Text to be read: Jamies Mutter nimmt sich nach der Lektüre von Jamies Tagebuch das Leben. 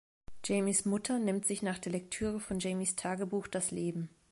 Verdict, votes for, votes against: accepted, 2, 0